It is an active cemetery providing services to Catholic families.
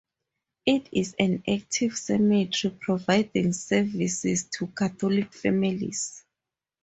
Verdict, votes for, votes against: accepted, 2, 0